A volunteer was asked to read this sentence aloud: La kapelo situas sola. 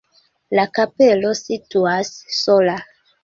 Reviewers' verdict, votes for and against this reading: accepted, 2, 0